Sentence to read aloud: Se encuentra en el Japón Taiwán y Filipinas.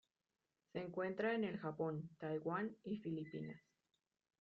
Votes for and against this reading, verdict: 2, 0, accepted